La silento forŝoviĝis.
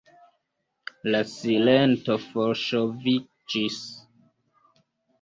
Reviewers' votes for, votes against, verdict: 0, 2, rejected